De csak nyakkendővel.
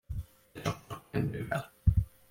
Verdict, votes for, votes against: rejected, 0, 2